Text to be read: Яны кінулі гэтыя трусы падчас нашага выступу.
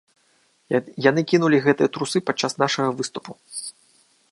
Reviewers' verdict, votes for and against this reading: rejected, 0, 2